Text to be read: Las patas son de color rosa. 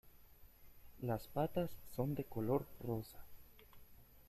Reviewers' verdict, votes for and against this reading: accepted, 2, 0